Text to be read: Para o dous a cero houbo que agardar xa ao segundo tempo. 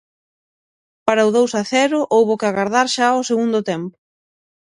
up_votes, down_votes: 0, 6